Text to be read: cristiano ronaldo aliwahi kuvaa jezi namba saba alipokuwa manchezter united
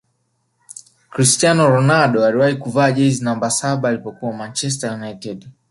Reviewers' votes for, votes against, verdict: 4, 0, accepted